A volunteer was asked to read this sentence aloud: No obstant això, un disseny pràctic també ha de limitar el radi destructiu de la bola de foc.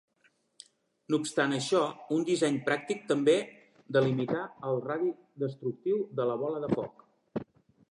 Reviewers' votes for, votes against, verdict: 0, 2, rejected